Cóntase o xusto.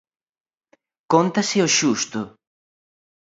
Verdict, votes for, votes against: accepted, 2, 0